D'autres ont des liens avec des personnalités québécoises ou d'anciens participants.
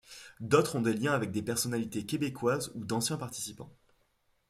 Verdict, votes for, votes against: accepted, 2, 0